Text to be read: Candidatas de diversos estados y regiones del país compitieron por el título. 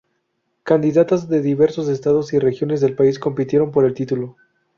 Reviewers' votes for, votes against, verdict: 4, 0, accepted